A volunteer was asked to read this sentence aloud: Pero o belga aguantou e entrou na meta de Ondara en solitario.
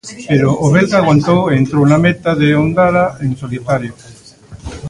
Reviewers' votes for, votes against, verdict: 0, 2, rejected